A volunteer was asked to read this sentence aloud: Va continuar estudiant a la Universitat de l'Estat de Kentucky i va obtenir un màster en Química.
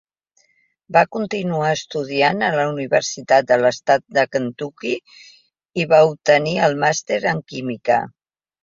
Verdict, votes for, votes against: rejected, 1, 2